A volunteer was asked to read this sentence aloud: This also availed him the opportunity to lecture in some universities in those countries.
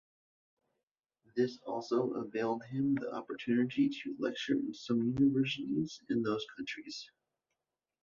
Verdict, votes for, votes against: accepted, 2, 0